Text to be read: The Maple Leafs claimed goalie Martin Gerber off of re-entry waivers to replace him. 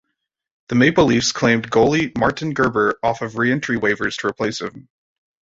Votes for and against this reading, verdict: 2, 0, accepted